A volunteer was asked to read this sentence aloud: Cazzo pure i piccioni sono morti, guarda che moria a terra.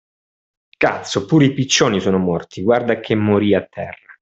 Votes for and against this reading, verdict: 2, 0, accepted